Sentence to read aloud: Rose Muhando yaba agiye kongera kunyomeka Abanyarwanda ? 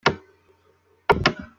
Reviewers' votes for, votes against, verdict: 0, 2, rejected